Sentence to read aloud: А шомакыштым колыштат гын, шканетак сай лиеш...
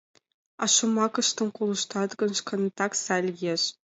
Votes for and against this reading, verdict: 2, 0, accepted